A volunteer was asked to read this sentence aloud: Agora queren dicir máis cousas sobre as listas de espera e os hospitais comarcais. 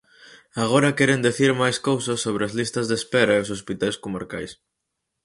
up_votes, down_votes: 2, 4